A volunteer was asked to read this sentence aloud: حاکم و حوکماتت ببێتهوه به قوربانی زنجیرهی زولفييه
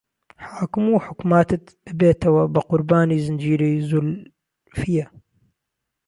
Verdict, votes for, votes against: rejected, 0, 2